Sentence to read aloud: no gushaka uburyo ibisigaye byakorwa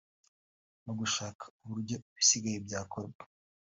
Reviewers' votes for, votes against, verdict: 2, 0, accepted